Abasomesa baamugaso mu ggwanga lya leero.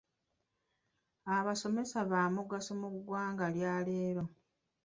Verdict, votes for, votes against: rejected, 0, 2